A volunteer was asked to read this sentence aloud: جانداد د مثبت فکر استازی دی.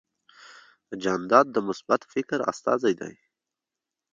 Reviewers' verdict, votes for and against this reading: rejected, 1, 2